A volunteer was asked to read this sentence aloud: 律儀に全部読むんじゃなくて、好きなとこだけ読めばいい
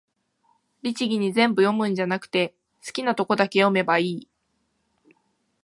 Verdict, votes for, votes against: accepted, 2, 0